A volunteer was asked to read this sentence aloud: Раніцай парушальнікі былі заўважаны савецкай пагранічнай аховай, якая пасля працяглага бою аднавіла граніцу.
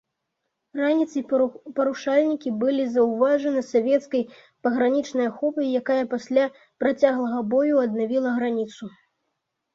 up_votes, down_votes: 1, 2